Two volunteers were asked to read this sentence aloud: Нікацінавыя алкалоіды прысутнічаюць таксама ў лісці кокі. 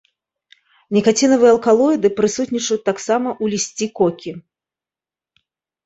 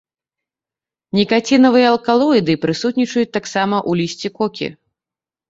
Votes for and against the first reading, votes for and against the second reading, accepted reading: 0, 2, 2, 0, second